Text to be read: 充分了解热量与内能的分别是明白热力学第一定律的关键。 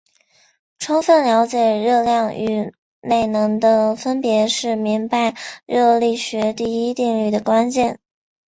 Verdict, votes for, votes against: accepted, 2, 1